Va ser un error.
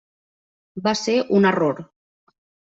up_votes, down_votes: 3, 0